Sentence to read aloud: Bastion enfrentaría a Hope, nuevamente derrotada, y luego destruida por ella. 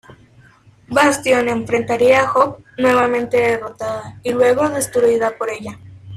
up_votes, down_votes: 0, 2